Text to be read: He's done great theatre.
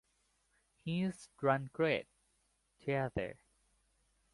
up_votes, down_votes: 1, 2